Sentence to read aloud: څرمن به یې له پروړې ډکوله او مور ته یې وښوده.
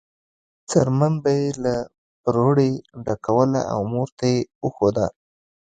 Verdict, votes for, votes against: accepted, 2, 0